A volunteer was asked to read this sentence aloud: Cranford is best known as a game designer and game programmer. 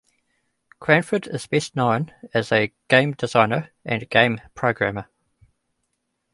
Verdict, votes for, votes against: rejected, 1, 2